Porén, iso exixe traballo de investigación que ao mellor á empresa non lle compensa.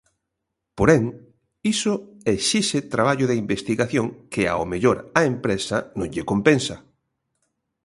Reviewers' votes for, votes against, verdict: 2, 0, accepted